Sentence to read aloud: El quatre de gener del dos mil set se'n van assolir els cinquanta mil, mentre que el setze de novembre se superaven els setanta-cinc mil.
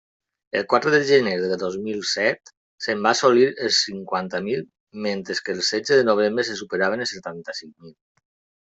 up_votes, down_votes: 0, 2